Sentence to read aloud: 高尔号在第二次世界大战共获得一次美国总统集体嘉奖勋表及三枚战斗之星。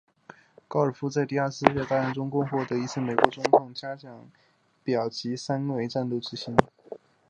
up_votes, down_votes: 0, 4